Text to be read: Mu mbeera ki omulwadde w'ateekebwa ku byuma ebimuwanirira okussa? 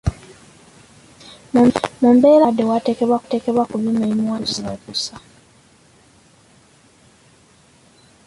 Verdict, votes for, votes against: rejected, 1, 2